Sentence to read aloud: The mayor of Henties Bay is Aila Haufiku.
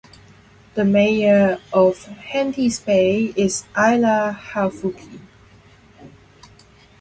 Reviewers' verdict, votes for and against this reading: rejected, 2, 2